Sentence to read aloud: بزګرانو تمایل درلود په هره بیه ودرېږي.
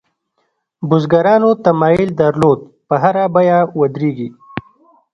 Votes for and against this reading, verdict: 2, 0, accepted